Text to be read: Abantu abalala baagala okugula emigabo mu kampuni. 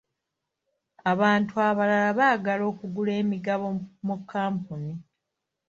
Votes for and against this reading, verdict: 2, 0, accepted